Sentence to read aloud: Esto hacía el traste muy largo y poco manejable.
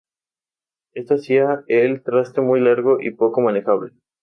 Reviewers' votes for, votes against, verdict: 2, 2, rejected